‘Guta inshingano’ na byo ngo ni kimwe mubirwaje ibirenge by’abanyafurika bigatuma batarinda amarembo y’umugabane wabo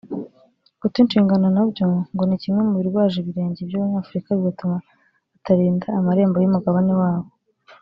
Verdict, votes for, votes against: accepted, 4, 0